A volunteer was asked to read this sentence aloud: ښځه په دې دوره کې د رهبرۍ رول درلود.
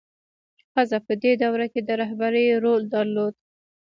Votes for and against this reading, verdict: 2, 0, accepted